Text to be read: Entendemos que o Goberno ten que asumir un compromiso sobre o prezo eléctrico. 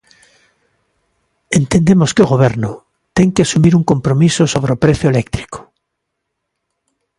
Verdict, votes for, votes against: accepted, 2, 0